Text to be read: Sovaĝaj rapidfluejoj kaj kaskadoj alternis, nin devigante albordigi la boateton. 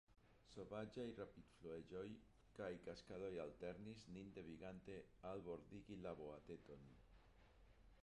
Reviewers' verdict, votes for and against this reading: rejected, 0, 2